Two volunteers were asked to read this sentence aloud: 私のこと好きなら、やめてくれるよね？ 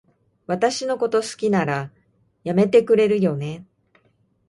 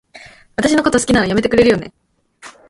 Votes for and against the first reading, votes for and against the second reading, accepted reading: 2, 0, 0, 2, first